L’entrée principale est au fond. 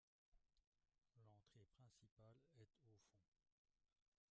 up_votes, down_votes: 0, 2